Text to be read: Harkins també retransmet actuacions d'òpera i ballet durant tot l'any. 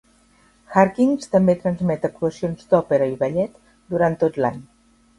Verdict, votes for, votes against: rejected, 2, 3